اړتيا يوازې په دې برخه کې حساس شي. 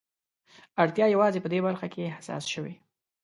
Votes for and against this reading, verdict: 0, 2, rejected